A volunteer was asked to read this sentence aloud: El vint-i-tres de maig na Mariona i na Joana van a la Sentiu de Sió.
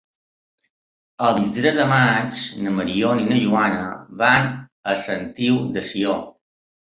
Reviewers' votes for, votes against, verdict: 1, 2, rejected